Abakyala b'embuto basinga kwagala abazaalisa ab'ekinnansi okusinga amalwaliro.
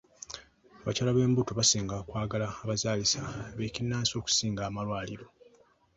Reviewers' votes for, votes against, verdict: 2, 0, accepted